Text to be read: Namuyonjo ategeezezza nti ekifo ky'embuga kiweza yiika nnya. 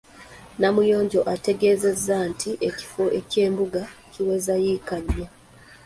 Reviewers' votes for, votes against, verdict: 1, 2, rejected